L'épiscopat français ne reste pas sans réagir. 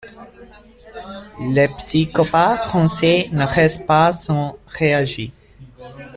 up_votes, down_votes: 1, 2